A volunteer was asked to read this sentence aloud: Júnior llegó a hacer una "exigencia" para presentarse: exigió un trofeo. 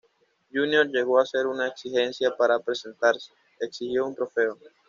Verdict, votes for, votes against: accepted, 2, 0